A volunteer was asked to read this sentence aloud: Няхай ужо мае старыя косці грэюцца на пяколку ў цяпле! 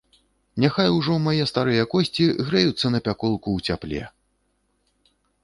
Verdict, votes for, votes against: accepted, 5, 0